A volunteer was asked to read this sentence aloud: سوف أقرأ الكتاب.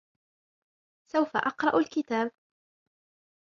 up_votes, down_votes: 2, 0